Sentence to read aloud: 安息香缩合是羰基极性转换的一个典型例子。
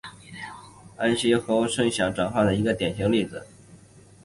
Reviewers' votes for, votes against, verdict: 2, 0, accepted